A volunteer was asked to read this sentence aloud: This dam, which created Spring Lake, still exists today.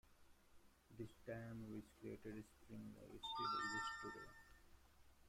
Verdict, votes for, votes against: rejected, 1, 2